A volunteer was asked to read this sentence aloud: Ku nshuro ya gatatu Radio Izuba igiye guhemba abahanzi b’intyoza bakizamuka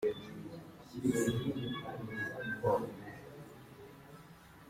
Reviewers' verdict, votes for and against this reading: rejected, 0, 3